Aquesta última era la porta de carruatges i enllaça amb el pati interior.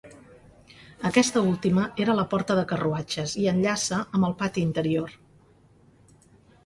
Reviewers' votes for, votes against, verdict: 4, 0, accepted